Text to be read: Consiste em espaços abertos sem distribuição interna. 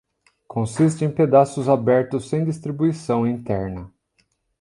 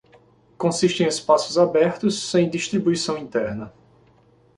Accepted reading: second